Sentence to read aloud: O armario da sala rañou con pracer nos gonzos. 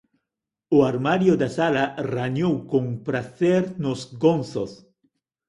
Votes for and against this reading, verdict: 2, 0, accepted